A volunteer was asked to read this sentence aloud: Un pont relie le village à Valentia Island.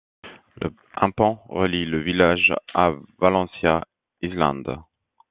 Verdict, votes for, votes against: rejected, 1, 2